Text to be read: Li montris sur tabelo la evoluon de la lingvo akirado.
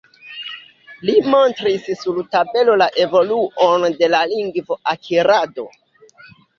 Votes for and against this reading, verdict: 1, 2, rejected